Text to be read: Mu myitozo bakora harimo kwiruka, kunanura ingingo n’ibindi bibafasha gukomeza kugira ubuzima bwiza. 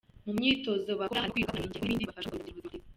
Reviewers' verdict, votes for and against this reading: rejected, 0, 2